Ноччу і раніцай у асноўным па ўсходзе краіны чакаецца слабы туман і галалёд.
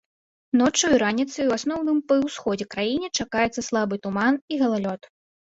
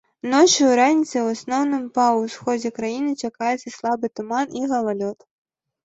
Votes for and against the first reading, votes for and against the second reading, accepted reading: 1, 2, 2, 0, second